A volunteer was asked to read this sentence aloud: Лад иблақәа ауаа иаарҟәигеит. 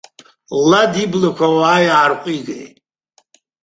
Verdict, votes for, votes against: accepted, 2, 1